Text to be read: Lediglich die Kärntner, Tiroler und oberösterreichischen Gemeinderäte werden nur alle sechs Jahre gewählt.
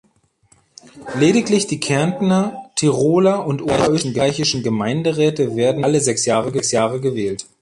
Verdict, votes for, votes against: rejected, 0, 2